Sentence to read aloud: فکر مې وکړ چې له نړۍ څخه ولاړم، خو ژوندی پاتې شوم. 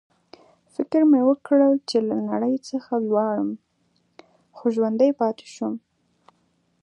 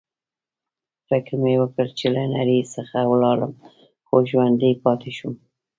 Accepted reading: first